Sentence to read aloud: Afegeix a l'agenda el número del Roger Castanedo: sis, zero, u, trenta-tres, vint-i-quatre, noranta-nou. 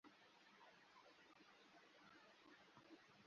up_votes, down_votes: 0, 2